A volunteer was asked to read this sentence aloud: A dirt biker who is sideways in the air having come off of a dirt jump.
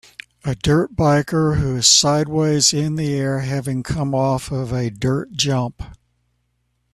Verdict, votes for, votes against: accepted, 2, 0